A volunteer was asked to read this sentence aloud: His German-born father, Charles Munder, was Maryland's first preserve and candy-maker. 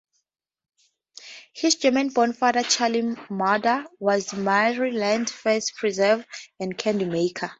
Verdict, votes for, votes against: accepted, 2, 0